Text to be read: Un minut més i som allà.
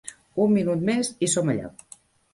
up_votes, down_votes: 3, 0